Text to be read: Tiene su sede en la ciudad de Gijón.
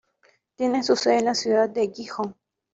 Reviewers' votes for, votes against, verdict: 1, 2, rejected